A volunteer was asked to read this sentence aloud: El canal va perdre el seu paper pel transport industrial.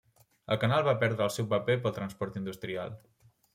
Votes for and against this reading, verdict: 3, 0, accepted